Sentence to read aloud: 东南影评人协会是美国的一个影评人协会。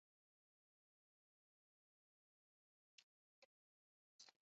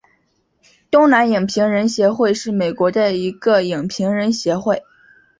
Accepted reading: second